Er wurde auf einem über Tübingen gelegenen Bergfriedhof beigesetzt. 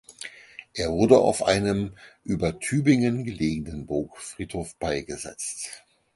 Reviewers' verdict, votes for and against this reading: rejected, 0, 4